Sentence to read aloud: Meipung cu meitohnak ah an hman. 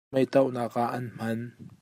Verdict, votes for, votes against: rejected, 0, 2